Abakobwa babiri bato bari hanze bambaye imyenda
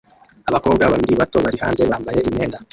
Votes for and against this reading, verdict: 1, 2, rejected